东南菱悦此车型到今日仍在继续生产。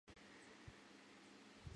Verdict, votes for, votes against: rejected, 0, 2